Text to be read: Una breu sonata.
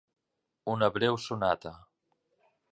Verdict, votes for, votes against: accepted, 3, 0